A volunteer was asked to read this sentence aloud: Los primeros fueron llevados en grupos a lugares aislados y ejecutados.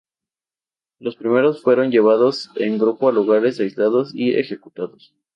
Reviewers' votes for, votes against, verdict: 2, 0, accepted